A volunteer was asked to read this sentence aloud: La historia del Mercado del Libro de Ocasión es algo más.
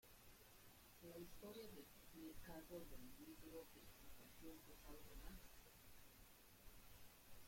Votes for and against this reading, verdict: 0, 2, rejected